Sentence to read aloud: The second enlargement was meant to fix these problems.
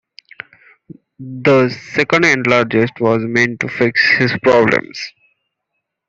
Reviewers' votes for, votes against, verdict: 0, 2, rejected